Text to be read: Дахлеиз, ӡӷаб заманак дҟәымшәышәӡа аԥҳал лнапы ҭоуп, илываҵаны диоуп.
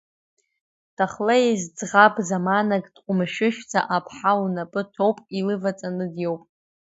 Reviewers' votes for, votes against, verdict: 2, 0, accepted